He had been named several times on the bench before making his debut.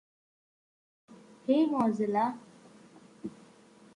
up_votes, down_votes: 0, 2